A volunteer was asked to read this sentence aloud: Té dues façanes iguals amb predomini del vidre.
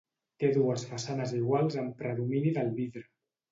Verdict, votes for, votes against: accepted, 2, 0